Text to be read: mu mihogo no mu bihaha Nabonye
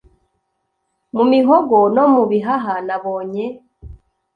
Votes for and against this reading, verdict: 2, 0, accepted